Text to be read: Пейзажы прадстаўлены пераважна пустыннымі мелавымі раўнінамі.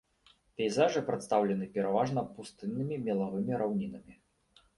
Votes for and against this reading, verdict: 2, 0, accepted